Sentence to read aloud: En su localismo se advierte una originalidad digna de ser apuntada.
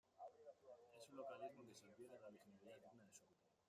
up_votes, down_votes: 0, 2